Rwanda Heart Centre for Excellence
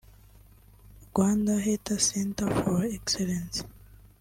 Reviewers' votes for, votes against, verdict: 1, 2, rejected